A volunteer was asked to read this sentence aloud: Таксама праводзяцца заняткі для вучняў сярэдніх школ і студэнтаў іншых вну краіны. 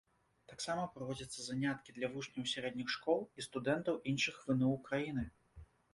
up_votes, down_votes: 1, 2